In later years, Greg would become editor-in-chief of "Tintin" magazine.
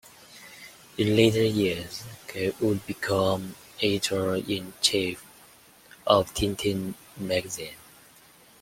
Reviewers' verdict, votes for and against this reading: accepted, 2, 1